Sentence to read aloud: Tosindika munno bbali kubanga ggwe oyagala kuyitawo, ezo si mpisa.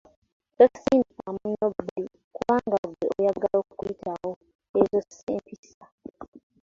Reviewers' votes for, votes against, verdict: 2, 0, accepted